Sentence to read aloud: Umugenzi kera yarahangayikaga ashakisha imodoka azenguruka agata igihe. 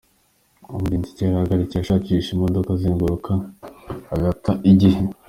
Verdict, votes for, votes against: rejected, 1, 2